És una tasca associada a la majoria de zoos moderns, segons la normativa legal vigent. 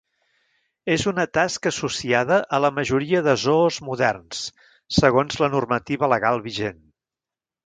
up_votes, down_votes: 0, 2